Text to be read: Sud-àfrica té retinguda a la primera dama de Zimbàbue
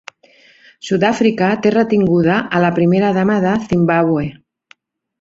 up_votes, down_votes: 1, 2